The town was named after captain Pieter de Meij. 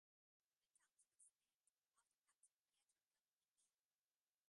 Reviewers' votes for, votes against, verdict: 0, 3, rejected